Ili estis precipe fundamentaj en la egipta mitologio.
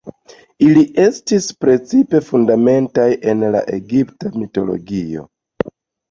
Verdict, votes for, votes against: accepted, 2, 0